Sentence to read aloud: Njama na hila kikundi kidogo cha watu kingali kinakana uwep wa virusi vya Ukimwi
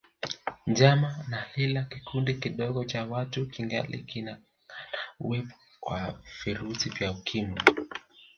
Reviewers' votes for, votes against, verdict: 2, 4, rejected